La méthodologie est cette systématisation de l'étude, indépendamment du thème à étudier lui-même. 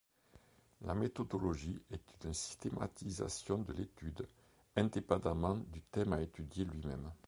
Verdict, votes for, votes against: rejected, 0, 3